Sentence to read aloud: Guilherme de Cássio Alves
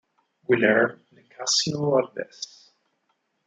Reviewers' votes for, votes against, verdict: 0, 4, rejected